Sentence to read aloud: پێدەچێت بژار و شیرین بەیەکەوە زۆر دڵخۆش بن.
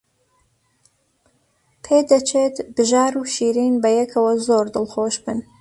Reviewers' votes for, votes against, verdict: 2, 0, accepted